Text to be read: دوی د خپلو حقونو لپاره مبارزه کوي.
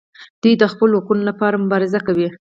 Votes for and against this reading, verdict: 4, 0, accepted